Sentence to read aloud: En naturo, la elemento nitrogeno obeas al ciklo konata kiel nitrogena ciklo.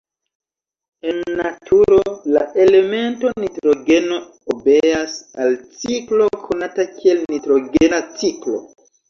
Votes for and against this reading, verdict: 1, 2, rejected